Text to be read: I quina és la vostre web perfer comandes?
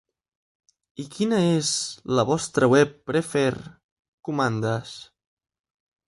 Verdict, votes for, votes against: rejected, 1, 2